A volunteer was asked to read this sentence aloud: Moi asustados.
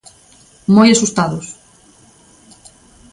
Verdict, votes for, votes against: accepted, 2, 0